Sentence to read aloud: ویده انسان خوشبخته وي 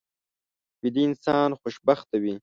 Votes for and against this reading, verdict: 2, 0, accepted